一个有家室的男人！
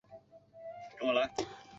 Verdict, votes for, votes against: accepted, 5, 1